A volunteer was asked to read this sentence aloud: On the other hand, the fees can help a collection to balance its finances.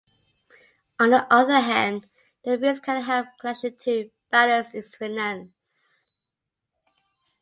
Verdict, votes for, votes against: accepted, 2, 0